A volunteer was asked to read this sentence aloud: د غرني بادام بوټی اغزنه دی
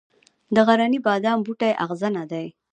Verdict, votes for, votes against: rejected, 1, 2